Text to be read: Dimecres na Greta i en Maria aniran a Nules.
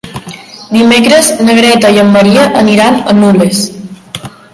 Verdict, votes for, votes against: accepted, 2, 1